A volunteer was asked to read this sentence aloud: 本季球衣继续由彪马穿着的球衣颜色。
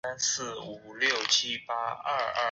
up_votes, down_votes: 2, 0